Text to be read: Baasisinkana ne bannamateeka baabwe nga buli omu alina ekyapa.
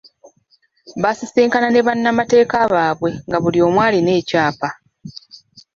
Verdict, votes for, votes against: rejected, 1, 2